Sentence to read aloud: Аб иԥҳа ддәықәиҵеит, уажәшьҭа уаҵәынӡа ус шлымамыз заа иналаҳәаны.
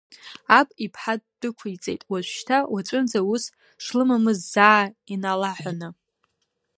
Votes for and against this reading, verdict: 2, 0, accepted